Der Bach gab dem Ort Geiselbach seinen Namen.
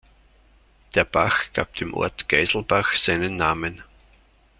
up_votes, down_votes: 2, 0